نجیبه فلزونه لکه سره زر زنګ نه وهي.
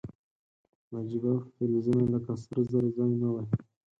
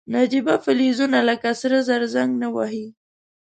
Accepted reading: second